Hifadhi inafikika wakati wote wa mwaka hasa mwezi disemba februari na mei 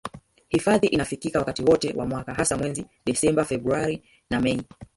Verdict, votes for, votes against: rejected, 0, 2